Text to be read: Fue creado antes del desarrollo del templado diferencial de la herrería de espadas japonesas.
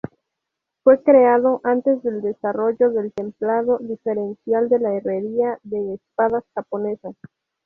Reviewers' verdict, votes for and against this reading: rejected, 0, 2